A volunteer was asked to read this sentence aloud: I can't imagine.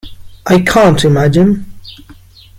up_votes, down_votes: 2, 0